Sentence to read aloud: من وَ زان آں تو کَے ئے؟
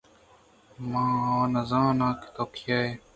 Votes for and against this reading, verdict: 2, 0, accepted